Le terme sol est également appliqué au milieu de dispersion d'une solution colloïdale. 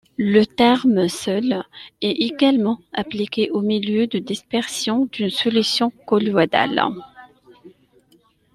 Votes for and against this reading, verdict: 0, 2, rejected